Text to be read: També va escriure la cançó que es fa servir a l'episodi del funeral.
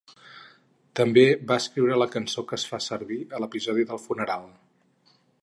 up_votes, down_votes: 4, 0